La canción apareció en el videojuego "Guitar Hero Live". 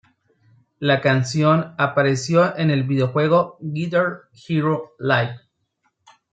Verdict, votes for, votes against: accepted, 2, 0